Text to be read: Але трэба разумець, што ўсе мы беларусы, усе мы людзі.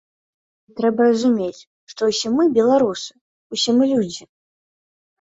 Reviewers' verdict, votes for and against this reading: rejected, 1, 2